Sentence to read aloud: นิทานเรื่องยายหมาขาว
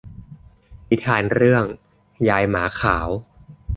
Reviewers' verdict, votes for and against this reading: accepted, 2, 0